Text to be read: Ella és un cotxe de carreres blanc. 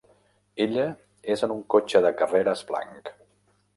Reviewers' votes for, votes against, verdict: 1, 2, rejected